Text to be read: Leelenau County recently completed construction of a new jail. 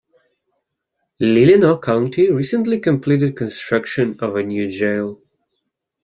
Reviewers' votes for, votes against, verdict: 2, 0, accepted